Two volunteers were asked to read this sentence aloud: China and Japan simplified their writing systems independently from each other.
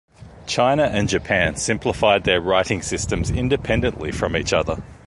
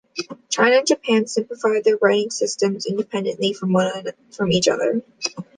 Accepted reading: first